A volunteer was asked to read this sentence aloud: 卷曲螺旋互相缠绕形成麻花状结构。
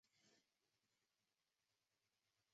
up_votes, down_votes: 0, 2